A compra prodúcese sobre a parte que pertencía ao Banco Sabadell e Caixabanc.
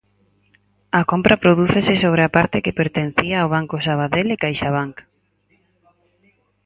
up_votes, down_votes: 4, 0